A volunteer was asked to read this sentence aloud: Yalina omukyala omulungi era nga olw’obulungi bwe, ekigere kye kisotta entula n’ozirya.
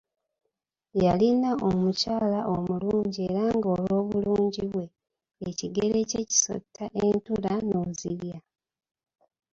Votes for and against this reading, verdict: 2, 0, accepted